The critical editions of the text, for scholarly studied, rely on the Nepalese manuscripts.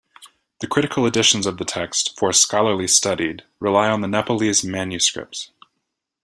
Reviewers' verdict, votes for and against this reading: accepted, 2, 0